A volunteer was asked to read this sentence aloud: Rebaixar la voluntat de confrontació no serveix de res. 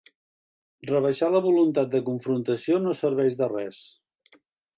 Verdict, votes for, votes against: accepted, 2, 0